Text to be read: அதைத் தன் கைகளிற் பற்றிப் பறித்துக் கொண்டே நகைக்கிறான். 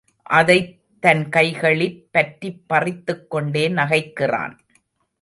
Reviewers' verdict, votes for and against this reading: accepted, 2, 0